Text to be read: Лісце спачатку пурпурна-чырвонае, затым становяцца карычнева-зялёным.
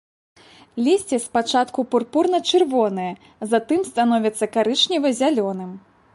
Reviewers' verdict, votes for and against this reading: accepted, 2, 0